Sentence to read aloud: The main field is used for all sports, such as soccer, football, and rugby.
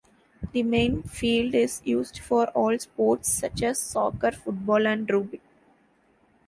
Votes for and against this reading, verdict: 0, 2, rejected